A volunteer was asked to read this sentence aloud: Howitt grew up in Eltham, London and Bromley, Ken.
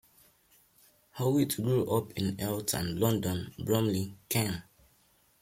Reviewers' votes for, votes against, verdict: 2, 1, accepted